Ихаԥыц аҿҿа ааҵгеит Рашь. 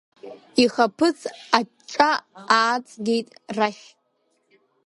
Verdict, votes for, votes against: rejected, 1, 2